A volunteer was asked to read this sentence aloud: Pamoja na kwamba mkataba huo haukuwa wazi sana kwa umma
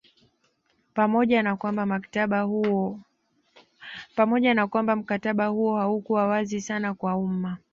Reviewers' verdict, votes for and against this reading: rejected, 1, 2